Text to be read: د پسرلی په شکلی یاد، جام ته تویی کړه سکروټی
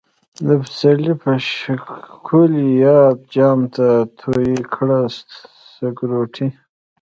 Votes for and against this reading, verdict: 1, 2, rejected